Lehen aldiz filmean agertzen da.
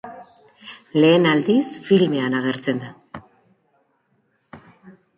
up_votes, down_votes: 2, 1